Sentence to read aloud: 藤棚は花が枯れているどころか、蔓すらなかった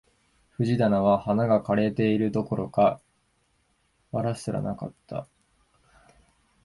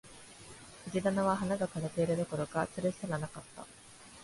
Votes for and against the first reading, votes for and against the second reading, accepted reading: 1, 2, 2, 0, second